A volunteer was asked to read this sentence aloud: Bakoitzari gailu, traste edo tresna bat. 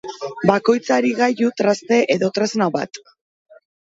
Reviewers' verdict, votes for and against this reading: accepted, 3, 0